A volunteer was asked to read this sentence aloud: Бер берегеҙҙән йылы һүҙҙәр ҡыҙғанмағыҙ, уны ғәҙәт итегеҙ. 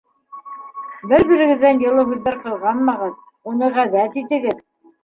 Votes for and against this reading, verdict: 2, 0, accepted